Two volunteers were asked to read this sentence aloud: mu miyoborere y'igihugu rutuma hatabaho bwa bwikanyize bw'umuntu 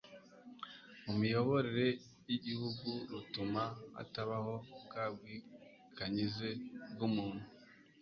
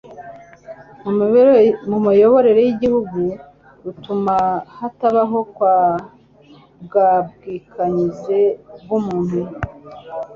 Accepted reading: first